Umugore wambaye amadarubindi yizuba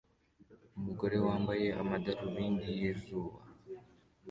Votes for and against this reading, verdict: 2, 0, accepted